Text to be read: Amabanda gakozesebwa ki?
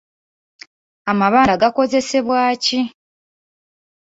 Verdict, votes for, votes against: rejected, 0, 2